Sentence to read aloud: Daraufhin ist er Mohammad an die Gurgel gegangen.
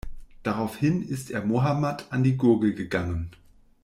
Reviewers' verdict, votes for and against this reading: accepted, 2, 0